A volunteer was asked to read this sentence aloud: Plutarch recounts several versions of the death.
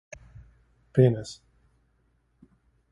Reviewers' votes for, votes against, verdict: 0, 2, rejected